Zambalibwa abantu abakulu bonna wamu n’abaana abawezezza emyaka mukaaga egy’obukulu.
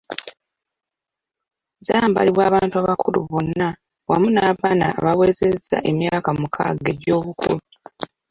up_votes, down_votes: 1, 2